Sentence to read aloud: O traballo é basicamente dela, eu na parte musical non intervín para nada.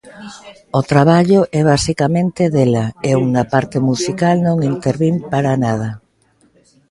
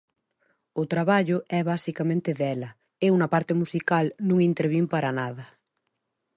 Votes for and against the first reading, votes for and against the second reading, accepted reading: 1, 2, 2, 0, second